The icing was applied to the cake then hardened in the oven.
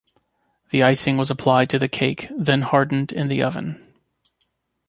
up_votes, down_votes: 2, 0